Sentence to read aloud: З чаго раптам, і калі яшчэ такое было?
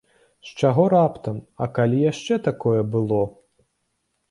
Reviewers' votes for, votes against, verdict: 0, 2, rejected